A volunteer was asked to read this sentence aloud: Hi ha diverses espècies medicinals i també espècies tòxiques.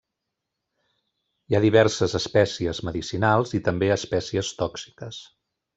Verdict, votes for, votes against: rejected, 1, 2